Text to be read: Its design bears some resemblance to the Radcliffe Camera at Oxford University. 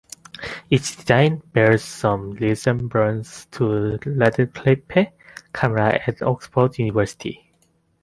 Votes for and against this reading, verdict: 0, 2, rejected